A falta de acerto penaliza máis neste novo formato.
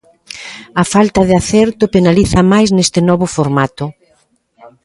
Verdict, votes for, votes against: rejected, 0, 2